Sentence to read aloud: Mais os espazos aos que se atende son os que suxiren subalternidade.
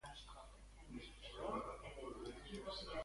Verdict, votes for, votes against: rejected, 0, 2